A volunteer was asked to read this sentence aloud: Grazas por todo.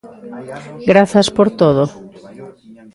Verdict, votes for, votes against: rejected, 0, 2